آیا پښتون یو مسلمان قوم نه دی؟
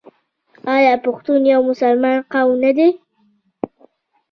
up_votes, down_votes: 0, 2